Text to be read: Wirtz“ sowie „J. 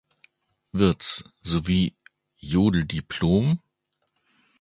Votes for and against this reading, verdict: 0, 3, rejected